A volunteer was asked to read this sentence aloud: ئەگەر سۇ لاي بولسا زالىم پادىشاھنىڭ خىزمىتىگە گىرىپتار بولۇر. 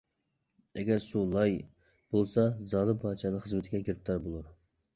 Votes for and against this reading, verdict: 2, 1, accepted